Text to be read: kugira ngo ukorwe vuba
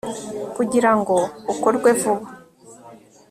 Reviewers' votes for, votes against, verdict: 3, 0, accepted